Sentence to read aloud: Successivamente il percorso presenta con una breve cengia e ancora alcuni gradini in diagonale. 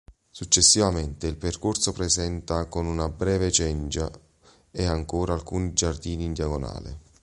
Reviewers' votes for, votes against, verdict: 1, 2, rejected